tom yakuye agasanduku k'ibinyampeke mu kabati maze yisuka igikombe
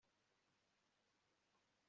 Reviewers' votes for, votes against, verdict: 1, 2, rejected